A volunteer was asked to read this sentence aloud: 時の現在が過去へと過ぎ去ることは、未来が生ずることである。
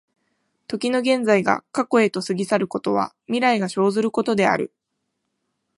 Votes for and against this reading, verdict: 2, 0, accepted